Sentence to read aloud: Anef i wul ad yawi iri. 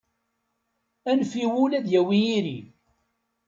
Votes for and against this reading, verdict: 2, 0, accepted